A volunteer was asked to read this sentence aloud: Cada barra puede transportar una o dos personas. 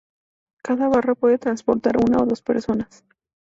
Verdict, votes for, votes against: accepted, 2, 0